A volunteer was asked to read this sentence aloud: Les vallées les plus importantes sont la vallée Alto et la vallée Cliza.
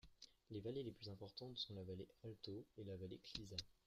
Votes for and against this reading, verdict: 2, 1, accepted